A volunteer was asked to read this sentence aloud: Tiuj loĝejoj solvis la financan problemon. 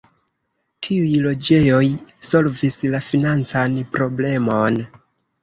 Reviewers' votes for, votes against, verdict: 1, 2, rejected